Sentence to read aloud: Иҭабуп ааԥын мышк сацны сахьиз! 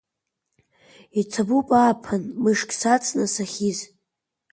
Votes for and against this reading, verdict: 2, 1, accepted